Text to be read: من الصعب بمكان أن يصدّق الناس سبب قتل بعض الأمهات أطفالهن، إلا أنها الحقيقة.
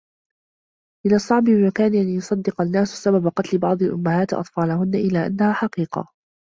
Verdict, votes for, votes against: accepted, 2, 1